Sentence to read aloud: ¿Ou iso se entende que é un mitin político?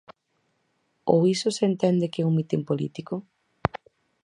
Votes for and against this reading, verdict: 4, 0, accepted